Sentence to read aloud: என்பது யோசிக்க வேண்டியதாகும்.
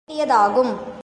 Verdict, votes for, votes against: rejected, 0, 2